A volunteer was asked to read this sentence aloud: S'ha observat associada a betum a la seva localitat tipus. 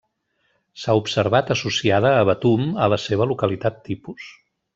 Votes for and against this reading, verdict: 2, 0, accepted